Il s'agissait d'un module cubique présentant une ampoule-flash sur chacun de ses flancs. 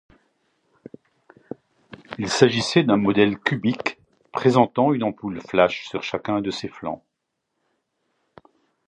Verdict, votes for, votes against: rejected, 1, 2